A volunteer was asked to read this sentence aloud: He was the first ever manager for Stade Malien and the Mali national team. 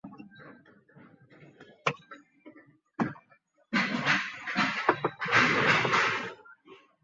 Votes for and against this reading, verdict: 1, 2, rejected